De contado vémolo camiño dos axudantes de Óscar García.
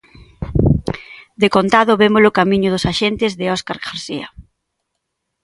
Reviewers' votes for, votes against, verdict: 0, 2, rejected